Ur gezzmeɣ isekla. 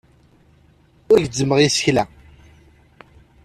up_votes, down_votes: 2, 0